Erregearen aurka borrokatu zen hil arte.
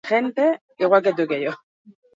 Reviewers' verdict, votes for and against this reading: rejected, 0, 4